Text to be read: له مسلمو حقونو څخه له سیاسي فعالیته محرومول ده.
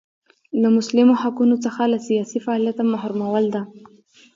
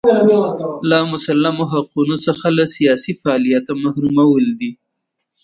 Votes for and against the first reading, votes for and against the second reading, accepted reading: 2, 0, 0, 2, first